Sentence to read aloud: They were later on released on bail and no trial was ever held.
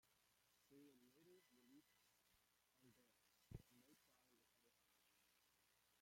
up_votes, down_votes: 0, 2